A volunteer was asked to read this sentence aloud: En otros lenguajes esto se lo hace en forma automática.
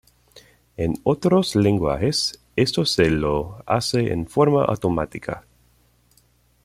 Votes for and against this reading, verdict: 1, 2, rejected